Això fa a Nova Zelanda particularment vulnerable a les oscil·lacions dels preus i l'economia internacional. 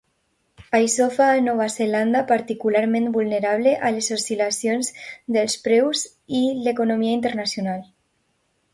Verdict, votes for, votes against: accepted, 2, 0